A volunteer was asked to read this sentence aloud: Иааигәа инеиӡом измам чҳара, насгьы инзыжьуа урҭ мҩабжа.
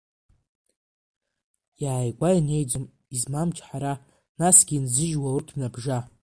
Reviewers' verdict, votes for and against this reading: accepted, 2, 1